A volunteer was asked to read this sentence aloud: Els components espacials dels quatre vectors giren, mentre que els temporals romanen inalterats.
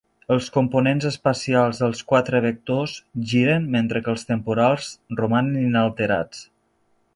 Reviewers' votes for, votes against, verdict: 2, 0, accepted